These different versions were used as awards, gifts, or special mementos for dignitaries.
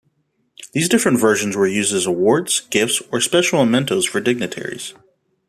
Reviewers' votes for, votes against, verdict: 2, 0, accepted